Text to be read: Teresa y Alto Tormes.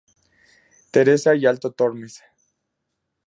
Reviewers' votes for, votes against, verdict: 2, 0, accepted